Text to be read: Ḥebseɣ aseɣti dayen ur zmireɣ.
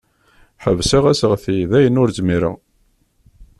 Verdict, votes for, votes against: accepted, 2, 0